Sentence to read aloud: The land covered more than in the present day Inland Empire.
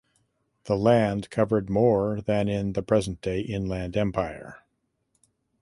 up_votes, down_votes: 2, 0